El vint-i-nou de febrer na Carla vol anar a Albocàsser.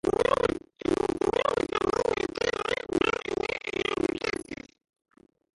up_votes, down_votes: 0, 4